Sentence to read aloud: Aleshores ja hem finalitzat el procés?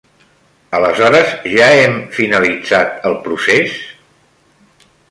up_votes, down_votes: 1, 2